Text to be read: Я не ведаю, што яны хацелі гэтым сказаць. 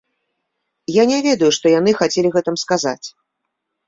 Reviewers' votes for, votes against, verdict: 2, 0, accepted